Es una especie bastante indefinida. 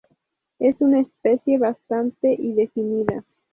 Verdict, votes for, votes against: rejected, 0, 2